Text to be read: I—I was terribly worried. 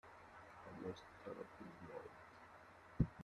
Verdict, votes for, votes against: rejected, 0, 2